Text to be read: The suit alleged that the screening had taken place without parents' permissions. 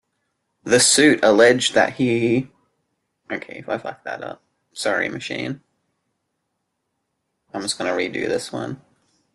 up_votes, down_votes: 0, 2